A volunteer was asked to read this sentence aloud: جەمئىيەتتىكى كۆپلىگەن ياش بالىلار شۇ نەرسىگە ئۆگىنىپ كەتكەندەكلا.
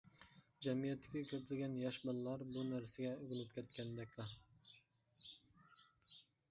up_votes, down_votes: 0, 2